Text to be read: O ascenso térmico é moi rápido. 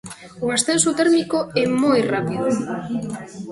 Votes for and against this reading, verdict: 0, 2, rejected